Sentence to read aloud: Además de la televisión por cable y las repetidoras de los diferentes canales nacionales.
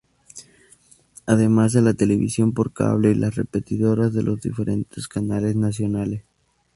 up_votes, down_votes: 2, 0